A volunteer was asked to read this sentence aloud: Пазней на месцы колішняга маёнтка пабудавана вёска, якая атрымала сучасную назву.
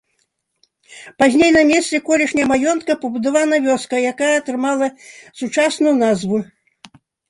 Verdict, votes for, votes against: accepted, 3, 0